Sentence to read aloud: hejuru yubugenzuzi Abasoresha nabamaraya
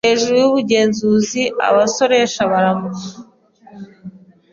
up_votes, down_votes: 0, 2